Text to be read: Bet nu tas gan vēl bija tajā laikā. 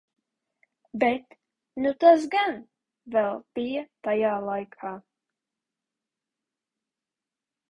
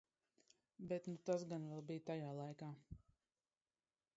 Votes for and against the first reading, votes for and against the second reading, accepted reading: 2, 1, 0, 2, first